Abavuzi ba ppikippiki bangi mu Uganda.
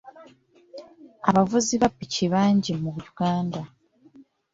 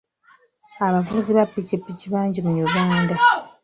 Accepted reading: second